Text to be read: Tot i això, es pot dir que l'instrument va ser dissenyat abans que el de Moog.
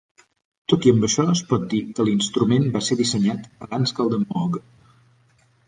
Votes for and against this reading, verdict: 0, 4, rejected